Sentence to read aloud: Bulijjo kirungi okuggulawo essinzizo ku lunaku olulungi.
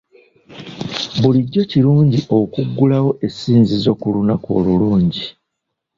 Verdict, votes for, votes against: accepted, 2, 0